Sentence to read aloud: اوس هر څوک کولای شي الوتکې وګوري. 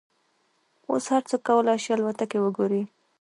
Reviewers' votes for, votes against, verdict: 2, 1, accepted